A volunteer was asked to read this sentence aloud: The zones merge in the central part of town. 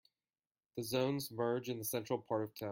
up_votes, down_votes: 1, 2